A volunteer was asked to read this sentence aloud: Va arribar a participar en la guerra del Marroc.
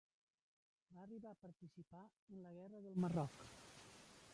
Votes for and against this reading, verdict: 0, 2, rejected